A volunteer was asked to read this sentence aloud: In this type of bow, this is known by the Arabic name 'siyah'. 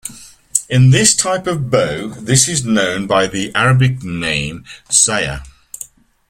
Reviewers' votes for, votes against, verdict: 2, 0, accepted